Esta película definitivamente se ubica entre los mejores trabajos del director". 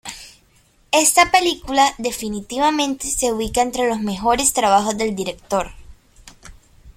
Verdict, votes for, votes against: accepted, 2, 0